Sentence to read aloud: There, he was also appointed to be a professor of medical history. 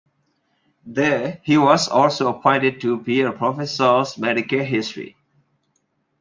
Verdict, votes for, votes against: rejected, 0, 2